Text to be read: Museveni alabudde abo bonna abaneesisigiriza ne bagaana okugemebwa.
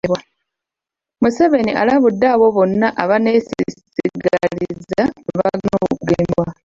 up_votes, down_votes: 0, 2